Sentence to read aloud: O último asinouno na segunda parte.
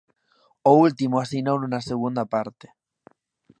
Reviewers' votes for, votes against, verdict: 2, 0, accepted